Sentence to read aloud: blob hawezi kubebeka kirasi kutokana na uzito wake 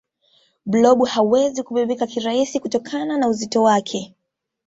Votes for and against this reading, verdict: 2, 0, accepted